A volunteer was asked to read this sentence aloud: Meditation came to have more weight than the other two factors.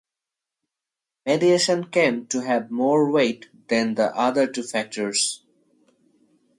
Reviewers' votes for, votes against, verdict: 2, 2, rejected